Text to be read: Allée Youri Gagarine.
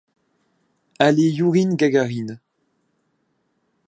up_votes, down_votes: 1, 2